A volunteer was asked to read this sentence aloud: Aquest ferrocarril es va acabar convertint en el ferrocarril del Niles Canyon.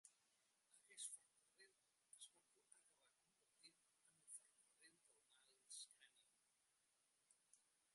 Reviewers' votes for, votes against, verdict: 0, 2, rejected